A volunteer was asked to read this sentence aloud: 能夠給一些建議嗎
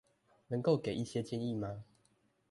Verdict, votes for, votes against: accepted, 2, 0